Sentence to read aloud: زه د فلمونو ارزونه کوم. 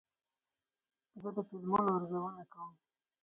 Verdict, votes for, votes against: rejected, 2, 4